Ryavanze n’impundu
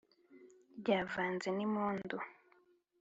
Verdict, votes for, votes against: accepted, 2, 0